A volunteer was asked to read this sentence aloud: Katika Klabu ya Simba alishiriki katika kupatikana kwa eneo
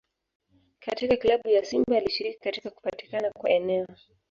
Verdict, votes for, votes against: accepted, 2, 0